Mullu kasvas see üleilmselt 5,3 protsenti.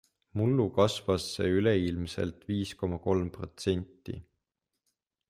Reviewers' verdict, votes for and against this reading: rejected, 0, 2